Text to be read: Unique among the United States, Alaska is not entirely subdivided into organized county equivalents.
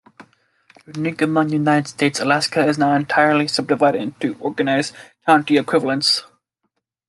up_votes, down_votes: 1, 2